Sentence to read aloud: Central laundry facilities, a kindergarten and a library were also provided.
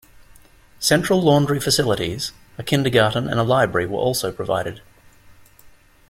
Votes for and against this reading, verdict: 2, 0, accepted